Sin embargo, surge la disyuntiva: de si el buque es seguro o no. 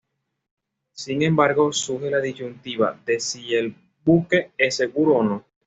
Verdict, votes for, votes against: accepted, 2, 0